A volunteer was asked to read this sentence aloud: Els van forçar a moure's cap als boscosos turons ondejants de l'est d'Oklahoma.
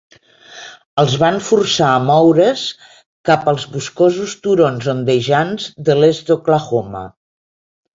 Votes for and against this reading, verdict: 1, 2, rejected